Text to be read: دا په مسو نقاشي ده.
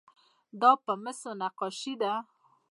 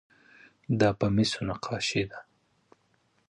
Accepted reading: second